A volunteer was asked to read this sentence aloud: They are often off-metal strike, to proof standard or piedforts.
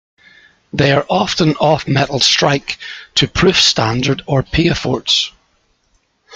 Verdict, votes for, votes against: accepted, 3, 0